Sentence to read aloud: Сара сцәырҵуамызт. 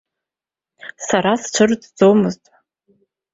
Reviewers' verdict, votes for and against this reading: rejected, 1, 2